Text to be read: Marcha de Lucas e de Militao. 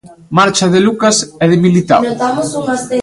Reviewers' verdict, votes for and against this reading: rejected, 1, 2